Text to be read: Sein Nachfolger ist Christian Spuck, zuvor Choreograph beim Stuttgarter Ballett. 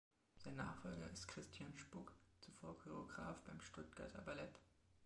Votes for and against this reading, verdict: 2, 1, accepted